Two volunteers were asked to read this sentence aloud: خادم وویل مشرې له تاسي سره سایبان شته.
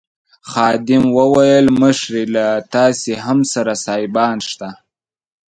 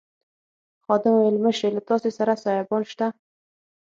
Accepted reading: second